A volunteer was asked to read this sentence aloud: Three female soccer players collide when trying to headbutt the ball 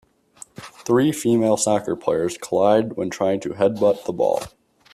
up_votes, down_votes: 2, 1